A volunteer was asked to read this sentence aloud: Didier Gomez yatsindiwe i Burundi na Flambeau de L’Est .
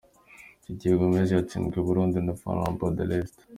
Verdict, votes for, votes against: accepted, 2, 1